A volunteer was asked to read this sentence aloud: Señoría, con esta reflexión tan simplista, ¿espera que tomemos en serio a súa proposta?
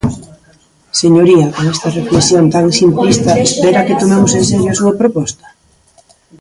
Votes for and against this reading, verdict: 0, 2, rejected